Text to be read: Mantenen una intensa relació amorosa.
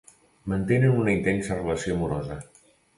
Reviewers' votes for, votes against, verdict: 2, 0, accepted